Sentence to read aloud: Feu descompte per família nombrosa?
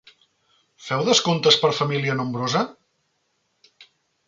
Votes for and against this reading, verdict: 1, 2, rejected